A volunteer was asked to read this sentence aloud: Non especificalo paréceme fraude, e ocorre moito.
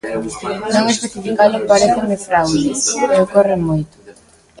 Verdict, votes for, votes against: rejected, 0, 2